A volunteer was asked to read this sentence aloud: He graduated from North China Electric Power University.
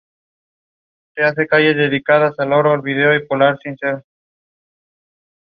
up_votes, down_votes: 0, 2